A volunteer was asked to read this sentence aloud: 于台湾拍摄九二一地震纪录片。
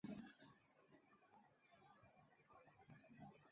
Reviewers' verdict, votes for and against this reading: rejected, 1, 3